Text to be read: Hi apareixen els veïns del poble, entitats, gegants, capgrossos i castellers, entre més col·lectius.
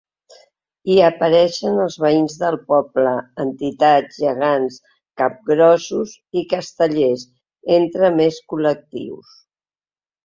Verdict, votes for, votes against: accepted, 3, 0